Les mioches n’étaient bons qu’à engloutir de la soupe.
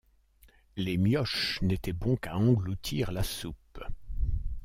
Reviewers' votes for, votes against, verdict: 0, 2, rejected